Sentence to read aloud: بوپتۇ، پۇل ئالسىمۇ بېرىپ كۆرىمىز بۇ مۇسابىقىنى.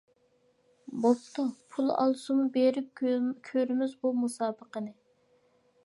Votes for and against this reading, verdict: 2, 0, accepted